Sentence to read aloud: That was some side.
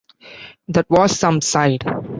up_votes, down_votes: 2, 0